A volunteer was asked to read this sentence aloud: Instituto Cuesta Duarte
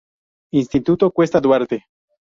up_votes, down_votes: 0, 2